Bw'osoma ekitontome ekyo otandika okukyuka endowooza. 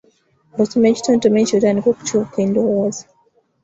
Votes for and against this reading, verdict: 1, 2, rejected